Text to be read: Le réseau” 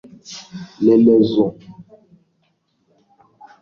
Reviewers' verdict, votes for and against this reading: rejected, 0, 2